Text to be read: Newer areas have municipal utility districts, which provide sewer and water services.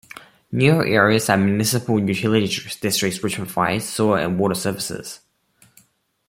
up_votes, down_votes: 1, 2